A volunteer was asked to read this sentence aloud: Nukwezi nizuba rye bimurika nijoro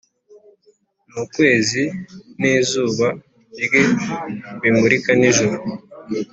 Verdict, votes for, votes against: accepted, 3, 0